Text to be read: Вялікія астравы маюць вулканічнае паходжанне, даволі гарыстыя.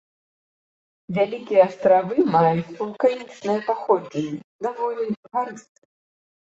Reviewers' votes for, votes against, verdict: 1, 2, rejected